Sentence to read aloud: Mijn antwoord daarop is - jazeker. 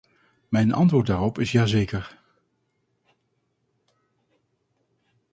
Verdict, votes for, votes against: rejected, 0, 2